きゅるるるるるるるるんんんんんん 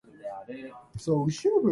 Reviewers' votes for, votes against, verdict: 0, 3, rejected